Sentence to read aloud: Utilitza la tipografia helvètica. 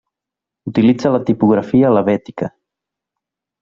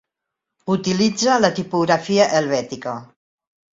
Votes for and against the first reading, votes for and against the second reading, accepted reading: 0, 2, 2, 0, second